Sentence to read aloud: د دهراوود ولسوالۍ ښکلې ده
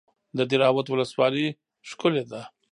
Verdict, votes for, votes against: rejected, 1, 2